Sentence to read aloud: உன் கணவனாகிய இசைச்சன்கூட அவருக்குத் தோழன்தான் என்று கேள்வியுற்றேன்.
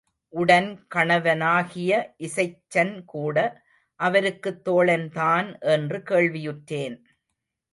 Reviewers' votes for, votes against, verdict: 0, 2, rejected